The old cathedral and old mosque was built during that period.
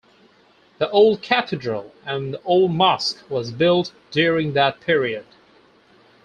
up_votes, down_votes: 2, 4